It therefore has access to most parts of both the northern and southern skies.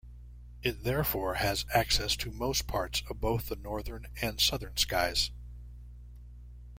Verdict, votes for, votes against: accepted, 2, 0